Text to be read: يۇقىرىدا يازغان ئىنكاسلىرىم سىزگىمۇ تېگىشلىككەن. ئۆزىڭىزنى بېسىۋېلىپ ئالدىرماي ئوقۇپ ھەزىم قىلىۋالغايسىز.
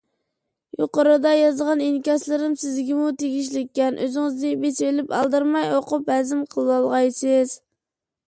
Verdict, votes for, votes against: accepted, 2, 1